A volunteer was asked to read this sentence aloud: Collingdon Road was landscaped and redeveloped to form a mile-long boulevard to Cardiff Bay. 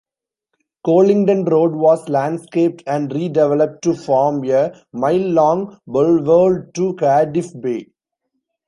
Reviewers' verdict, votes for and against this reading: rejected, 1, 2